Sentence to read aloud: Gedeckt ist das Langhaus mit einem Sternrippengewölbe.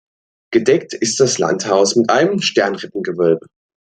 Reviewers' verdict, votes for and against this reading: rejected, 0, 2